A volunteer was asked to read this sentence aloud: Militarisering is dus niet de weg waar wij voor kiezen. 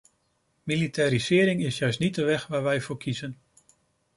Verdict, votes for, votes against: rejected, 0, 2